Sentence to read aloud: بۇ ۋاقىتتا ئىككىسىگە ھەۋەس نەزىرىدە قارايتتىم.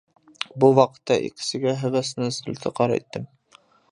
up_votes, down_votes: 0, 2